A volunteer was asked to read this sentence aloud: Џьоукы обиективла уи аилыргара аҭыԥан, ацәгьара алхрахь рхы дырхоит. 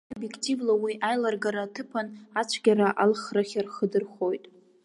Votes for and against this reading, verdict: 0, 2, rejected